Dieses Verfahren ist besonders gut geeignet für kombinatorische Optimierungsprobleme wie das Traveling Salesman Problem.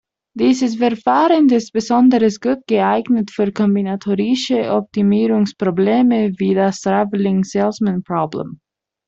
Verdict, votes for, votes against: accepted, 2, 0